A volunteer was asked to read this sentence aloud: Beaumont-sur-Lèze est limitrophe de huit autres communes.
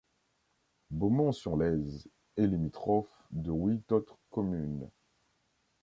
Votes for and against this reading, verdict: 1, 2, rejected